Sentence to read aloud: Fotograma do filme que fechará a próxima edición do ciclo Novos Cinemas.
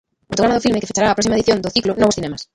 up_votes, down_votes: 1, 2